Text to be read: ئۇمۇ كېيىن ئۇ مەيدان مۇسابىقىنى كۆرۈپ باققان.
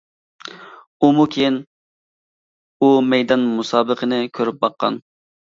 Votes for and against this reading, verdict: 2, 0, accepted